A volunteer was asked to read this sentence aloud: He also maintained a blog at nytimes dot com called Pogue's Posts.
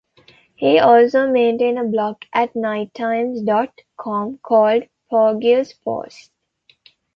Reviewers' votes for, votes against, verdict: 1, 2, rejected